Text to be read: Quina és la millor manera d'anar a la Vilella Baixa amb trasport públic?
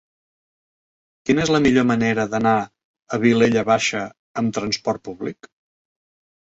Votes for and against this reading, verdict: 0, 2, rejected